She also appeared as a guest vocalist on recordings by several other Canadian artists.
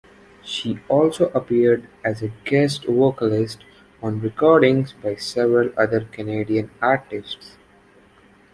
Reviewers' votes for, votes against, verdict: 2, 0, accepted